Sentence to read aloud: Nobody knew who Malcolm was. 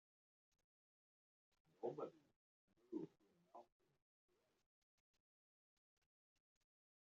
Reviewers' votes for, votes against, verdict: 1, 2, rejected